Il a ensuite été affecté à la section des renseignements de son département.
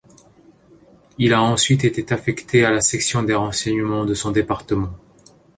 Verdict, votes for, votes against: rejected, 1, 2